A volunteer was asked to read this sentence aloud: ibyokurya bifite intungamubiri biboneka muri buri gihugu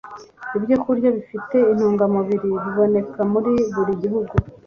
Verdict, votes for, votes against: accepted, 2, 0